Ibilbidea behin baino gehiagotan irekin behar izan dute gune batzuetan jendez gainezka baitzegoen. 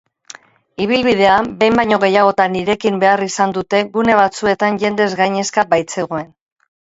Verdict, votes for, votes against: rejected, 0, 2